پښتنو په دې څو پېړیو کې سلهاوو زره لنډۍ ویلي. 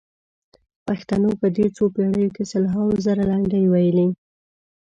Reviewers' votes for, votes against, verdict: 2, 1, accepted